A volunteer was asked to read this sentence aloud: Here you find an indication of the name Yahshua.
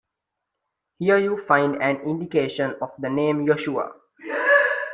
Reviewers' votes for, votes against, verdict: 2, 1, accepted